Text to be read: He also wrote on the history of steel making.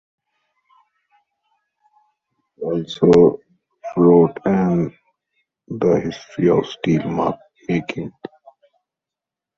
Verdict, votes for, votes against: rejected, 0, 2